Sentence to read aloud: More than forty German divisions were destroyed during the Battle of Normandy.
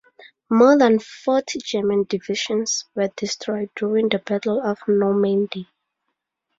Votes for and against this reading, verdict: 2, 2, rejected